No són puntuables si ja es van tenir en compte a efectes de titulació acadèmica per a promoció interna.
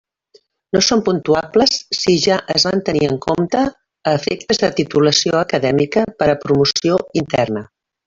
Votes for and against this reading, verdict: 0, 2, rejected